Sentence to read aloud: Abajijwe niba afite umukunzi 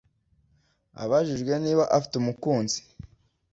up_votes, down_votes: 2, 0